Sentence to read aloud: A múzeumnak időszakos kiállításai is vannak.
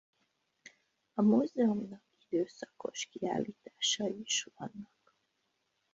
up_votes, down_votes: 1, 2